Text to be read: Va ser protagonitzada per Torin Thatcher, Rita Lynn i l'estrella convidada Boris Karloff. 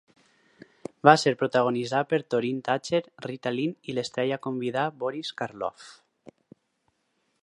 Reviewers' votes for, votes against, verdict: 4, 2, accepted